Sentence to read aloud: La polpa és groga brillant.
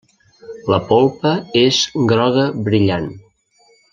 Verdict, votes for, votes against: accepted, 3, 0